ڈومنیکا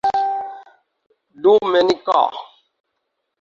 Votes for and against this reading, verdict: 0, 4, rejected